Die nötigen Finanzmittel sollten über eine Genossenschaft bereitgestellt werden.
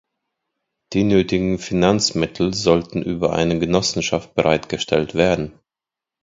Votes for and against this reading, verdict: 2, 0, accepted